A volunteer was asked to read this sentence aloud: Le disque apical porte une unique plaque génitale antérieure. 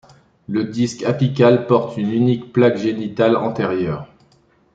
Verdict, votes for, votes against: accepted, 2, 0